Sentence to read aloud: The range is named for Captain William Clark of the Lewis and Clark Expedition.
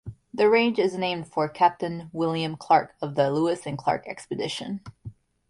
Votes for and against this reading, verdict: 2, 0, accepted